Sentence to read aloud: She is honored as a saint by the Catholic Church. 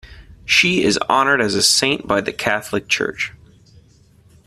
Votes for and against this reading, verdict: 2, 0, accepted